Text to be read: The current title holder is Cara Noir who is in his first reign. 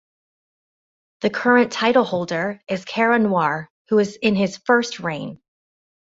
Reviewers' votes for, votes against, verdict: 2, 0, accepted